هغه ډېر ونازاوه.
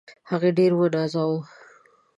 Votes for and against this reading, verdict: 0, 2, rejected